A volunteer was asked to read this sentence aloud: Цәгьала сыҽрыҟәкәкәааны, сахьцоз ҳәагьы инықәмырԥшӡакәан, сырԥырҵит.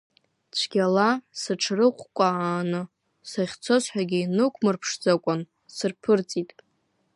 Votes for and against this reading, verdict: 2, 0, accepted